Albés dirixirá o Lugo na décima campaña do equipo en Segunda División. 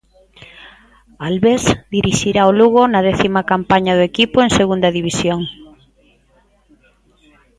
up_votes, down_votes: 1, 2